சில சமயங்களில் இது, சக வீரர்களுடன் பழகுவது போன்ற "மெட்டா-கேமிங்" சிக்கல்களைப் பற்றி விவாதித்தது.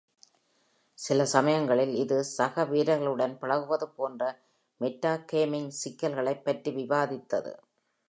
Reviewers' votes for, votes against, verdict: 2, 0, accepted